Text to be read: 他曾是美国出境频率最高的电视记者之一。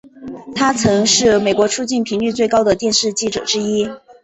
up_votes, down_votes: 2, 0